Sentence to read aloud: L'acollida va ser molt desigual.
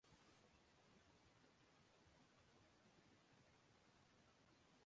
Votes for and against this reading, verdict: 0, 2, rejected